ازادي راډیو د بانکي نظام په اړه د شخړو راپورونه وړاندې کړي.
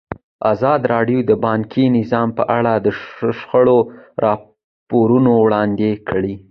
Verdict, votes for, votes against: accepted, 2, 0